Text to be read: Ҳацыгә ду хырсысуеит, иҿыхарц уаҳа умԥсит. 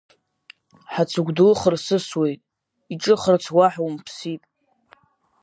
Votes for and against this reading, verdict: 2, 0, accepted